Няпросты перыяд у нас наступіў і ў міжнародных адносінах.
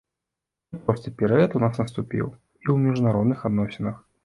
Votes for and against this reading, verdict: 2, 1, accepted